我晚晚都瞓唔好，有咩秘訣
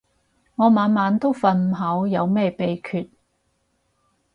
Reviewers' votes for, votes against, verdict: 6, 0, accepted